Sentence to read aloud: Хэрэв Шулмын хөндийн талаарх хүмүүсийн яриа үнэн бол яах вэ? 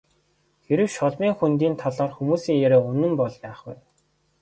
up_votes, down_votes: 0, 2